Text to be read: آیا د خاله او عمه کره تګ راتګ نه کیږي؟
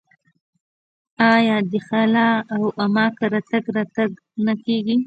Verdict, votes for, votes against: rejected, 1, 2